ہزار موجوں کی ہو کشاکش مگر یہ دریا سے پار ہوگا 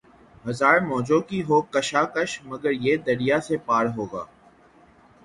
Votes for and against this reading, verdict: 0, 3, rejected